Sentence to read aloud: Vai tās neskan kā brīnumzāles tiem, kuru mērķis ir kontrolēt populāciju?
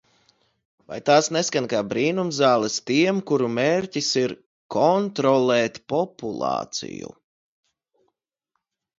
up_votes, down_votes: 2, 0